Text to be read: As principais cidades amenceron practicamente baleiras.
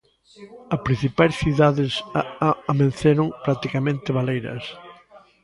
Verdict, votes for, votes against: rejected, 0, 2